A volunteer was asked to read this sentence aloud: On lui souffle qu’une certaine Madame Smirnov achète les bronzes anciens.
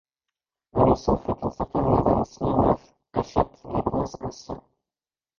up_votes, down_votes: 0, 2